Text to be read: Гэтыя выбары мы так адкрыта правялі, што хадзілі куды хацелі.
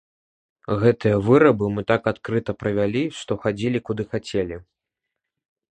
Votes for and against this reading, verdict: 0, 2, rejected